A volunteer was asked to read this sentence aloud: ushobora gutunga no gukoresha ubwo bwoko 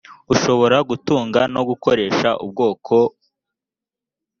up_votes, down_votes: 0, 2